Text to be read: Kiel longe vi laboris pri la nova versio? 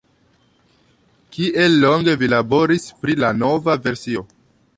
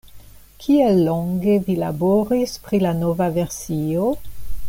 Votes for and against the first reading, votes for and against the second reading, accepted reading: 1, 2, 2, 0, second